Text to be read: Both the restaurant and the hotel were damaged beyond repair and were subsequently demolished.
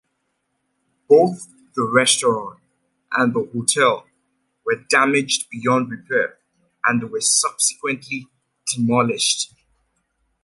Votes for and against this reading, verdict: 2, 0, accepted